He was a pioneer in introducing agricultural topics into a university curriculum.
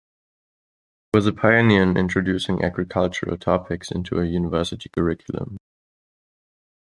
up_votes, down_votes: 2, 0